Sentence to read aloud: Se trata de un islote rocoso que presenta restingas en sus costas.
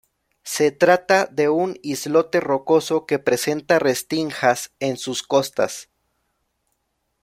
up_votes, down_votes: 0, 2